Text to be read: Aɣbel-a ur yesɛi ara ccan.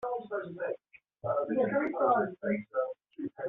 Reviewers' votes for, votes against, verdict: 0, 2, rejected